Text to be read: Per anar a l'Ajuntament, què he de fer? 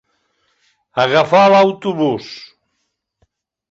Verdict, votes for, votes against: rejected, 0, 2